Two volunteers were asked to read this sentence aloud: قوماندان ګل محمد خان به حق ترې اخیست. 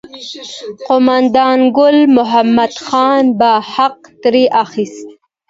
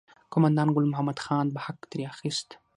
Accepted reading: first